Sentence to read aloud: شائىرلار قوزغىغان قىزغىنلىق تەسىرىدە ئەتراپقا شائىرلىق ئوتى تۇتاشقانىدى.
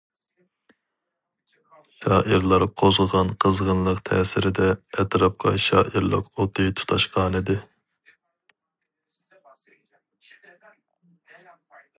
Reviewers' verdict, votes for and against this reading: rejected, 2, 2